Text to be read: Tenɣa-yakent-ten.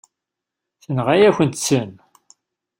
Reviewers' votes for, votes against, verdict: 1, 2, rejected